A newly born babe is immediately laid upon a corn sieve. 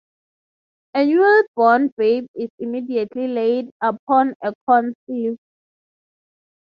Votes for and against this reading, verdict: 0, 6, rejected